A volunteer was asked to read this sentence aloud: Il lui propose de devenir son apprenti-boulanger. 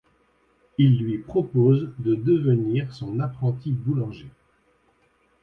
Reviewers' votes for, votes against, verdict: 2, 0, accepted